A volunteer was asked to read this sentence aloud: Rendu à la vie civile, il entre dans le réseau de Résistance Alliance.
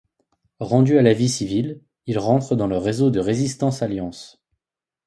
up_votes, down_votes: 0, 2